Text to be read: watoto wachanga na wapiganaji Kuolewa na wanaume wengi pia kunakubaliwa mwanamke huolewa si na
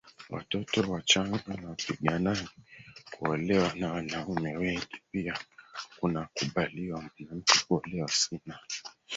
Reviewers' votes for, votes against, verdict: 1, 4, rejected